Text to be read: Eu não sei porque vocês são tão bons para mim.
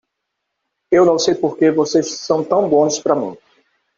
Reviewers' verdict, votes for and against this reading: accepted, 2, 0